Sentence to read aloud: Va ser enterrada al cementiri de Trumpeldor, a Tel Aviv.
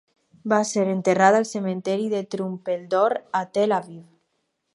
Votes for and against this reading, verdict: 2, 2, rejected